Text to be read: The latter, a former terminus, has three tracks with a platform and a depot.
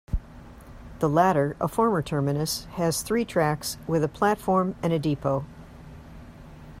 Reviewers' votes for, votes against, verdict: 2, 0, accepted